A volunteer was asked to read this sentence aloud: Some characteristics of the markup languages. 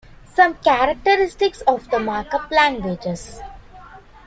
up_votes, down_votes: 2, 0